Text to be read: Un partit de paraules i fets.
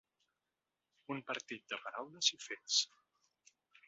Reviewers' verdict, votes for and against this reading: accepted, 4, 1